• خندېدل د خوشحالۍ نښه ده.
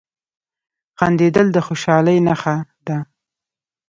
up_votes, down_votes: 2, 0